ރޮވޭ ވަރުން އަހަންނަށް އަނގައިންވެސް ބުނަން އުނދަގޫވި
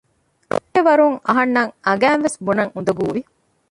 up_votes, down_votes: 0, 2